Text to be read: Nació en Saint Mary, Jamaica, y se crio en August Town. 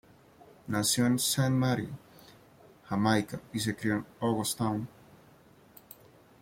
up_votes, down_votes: 2, 0